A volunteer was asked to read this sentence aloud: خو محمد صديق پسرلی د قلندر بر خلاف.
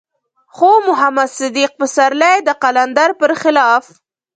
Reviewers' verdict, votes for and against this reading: rejected, 1, 2